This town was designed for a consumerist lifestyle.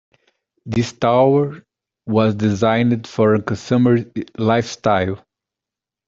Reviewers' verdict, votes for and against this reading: rejected, 0, 2